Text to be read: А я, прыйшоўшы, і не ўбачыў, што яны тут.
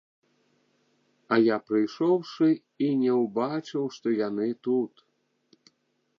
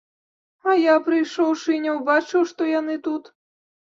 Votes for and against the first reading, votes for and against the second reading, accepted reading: 1, 2, 2, 0, second